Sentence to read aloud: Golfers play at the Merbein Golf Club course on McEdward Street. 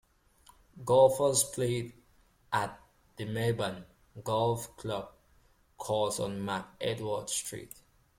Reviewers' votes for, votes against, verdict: 2, 0, accepted